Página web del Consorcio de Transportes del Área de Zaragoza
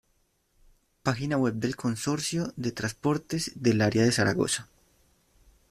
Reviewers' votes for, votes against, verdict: 0, 2, rejected